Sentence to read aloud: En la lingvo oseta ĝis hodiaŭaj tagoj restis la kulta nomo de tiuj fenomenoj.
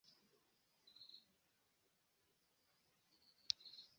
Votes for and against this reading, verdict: 0, 2, rejected